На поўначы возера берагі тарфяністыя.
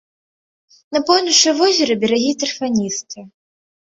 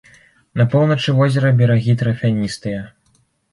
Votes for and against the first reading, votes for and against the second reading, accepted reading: 2, 0, 0, 2, first